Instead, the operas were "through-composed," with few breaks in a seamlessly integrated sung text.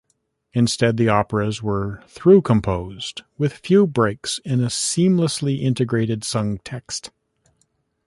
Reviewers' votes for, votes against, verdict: 2, 0, accepted